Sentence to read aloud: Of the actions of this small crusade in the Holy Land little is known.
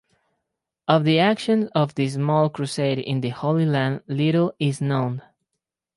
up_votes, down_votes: 2, 0